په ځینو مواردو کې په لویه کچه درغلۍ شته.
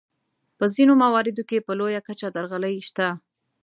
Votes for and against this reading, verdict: 2, 0, accepted